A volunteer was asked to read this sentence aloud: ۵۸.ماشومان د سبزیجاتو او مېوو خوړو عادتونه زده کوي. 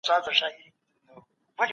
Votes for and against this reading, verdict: 0, 2, rejected